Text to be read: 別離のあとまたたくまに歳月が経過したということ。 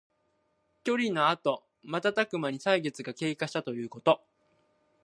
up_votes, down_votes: 2, 1